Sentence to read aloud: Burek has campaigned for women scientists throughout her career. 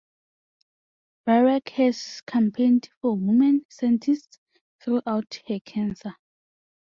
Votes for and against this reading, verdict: 0, 2, rejected